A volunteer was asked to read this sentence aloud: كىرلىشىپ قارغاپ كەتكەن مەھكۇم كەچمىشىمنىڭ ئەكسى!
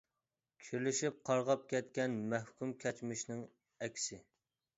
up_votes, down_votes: 1, 2